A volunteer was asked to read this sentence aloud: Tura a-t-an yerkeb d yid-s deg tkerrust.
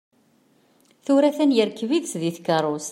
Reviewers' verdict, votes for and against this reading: accepted, 2, 0